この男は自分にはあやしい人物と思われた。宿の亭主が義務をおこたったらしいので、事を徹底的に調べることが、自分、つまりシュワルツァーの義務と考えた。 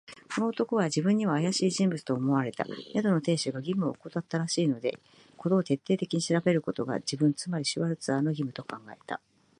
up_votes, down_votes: 2, 0